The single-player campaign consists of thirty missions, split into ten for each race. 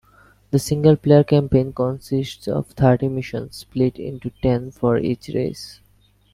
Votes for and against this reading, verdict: 1, 2, rejected